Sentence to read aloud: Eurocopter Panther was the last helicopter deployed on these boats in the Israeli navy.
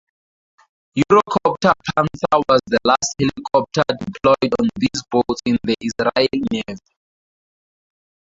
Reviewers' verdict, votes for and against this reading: rejected, 0, 4